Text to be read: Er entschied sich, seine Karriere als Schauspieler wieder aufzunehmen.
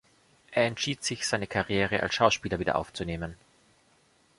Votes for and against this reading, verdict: 3, 0, accepted